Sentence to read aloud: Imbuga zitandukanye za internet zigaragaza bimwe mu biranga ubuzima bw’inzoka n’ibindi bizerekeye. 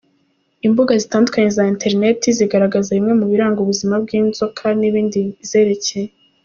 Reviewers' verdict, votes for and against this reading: accepted, 2, 0